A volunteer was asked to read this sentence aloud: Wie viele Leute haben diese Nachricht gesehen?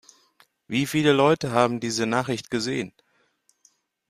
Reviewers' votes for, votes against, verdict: 2, 0, accepted